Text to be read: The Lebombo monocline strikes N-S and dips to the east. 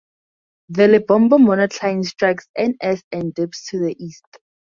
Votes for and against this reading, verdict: 2, 0, accepted